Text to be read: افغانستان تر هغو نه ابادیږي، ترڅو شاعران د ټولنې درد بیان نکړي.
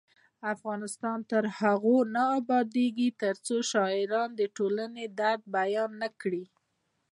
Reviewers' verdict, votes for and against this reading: accepted, 2, 0